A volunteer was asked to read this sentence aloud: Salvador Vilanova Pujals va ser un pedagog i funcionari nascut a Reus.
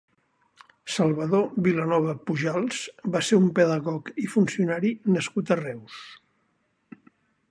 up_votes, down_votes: 6, 0